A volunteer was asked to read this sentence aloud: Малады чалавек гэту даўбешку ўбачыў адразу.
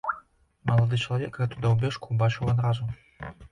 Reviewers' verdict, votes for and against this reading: rejected, 0, 2